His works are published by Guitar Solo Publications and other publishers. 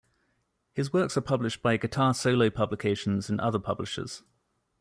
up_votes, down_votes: 2, 0